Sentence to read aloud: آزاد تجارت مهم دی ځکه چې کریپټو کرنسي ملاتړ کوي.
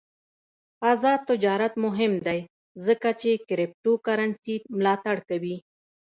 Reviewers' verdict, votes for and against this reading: rejected, 0, 2